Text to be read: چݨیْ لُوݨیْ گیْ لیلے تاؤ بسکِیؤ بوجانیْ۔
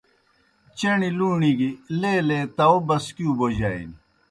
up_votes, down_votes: 2, 0